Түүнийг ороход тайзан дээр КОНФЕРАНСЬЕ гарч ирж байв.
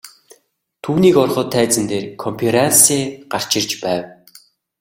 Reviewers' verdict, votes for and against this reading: accepted, 2, 0